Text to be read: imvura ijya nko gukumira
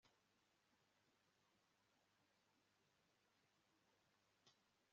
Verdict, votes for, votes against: rejected, 1, 2